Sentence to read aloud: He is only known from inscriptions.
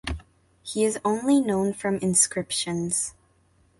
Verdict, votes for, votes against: accepted, 2, 0